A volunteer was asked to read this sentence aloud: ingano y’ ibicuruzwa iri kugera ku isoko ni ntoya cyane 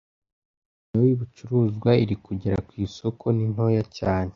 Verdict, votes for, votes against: rejected, 1, 2